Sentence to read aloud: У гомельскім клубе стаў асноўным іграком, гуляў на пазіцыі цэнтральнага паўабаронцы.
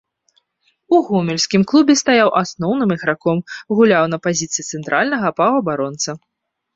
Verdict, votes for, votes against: rejected, 0, 2